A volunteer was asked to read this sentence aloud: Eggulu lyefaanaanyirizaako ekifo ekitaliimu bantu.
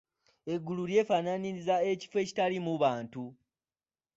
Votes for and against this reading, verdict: 0, 2, rejected